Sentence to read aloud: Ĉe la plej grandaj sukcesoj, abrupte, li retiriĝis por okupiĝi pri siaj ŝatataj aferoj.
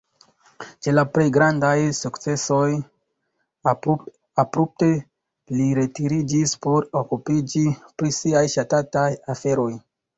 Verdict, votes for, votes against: rejected, 1, 2